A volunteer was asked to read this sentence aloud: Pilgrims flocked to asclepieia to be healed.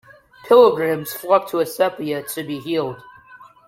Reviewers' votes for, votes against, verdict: 0, 2, rejected